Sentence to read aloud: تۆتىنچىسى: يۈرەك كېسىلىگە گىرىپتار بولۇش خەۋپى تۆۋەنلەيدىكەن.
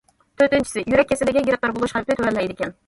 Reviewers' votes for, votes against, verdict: 2, 1, accepted